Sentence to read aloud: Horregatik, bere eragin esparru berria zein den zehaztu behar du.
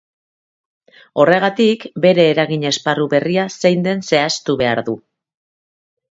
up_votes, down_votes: 2, 0